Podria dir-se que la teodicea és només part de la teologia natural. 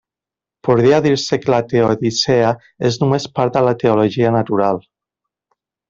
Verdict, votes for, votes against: accepted, 2, 0